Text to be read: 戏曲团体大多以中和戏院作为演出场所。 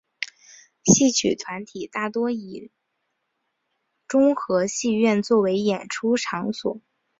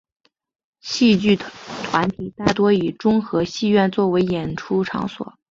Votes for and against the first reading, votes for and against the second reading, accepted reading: 2, 0, 0, 2, first